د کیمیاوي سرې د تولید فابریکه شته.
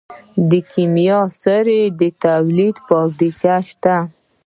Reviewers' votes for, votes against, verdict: 1, 2, rejected